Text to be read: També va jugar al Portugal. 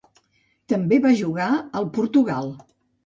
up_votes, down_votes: 2, 0